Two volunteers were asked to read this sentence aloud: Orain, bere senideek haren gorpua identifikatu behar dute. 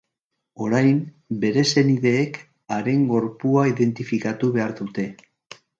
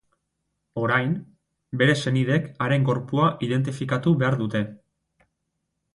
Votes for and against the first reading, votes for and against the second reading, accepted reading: 2, 0, 2, 2, first